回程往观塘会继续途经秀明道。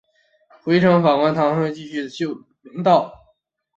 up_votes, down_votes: 1, 2